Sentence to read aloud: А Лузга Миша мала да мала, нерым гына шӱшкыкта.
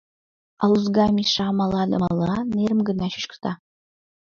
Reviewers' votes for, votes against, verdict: 2, 1, accepted